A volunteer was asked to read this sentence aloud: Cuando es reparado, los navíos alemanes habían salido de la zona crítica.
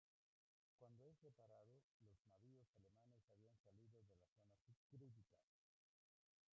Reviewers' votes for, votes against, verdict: 0, 2, rejected